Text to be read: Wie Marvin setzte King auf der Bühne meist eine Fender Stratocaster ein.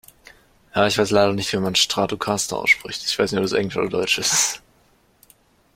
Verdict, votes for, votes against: rejected, 0, 2